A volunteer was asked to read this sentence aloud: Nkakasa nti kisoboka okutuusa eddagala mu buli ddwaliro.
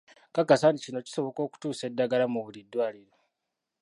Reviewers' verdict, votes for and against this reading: rejected, 0, 2